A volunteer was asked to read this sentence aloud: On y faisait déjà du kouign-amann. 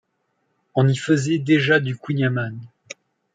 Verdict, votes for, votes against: accepted, 2, 0